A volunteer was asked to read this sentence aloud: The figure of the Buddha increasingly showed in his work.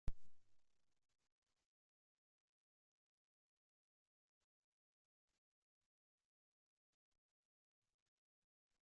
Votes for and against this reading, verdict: 0, 2, rejected